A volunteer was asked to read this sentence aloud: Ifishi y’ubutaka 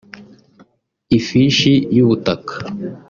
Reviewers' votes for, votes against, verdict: 1, 2, rejected